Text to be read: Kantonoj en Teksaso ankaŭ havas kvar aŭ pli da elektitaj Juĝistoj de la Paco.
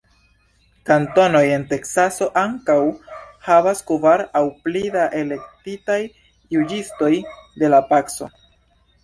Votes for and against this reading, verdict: 1, 2, rejected